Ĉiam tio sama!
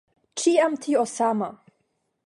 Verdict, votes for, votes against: accepted, 5, 0